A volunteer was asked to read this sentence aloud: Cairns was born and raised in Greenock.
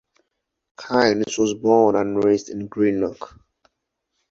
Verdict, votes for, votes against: accepted, 2, 0